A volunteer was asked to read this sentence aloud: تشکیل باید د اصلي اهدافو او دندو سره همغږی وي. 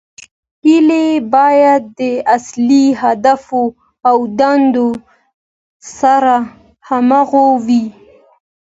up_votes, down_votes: 2, 0